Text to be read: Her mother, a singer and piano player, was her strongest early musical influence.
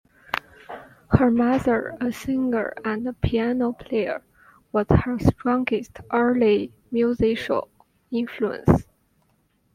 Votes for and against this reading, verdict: 0, 2, rejected